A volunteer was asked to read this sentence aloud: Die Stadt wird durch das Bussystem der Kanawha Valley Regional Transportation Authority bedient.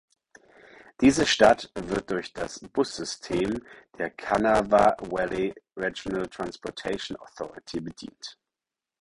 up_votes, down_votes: 2, 4